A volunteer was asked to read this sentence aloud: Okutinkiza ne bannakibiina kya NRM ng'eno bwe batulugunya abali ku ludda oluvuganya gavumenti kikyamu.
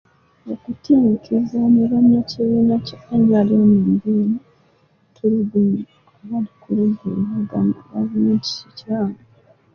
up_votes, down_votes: 0, 2